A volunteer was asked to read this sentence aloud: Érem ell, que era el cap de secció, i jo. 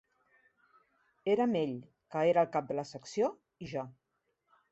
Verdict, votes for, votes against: rejected, 1, 2